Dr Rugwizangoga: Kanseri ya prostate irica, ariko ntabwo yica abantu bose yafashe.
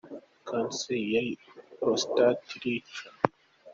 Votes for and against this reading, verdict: 0, 2, rejected